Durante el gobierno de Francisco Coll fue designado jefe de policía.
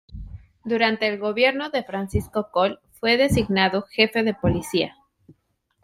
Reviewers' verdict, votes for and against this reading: accepted, 2, 0